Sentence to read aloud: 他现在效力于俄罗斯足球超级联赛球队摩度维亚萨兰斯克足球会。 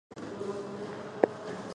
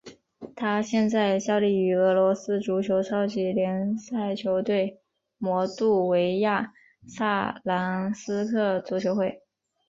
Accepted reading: second